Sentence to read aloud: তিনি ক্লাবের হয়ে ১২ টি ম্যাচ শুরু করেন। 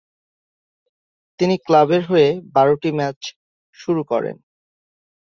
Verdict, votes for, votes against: rejected, 0, 2